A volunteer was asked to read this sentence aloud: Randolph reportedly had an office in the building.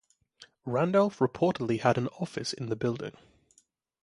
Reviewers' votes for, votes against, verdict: 3, 3, rejected